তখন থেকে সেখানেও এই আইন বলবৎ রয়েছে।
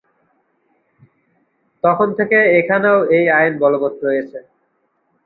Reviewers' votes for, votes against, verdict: 0, 2, rejected